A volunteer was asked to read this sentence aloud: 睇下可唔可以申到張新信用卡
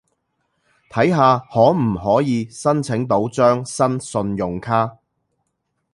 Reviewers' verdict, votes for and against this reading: rejected, 0, 2